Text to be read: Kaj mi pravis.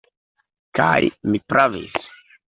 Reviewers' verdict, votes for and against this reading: accepted, 3, 1